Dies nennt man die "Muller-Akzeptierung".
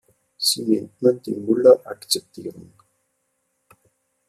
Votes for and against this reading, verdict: 0, 2, rejected